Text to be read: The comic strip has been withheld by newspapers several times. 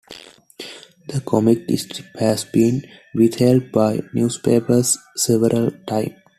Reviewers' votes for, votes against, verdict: 0, 2, rejected